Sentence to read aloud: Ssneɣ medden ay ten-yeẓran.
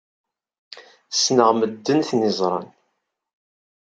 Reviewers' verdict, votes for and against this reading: accepted, 2, 0